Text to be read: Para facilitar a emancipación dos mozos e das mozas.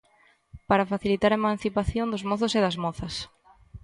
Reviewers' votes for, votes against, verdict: 2, 0, accepted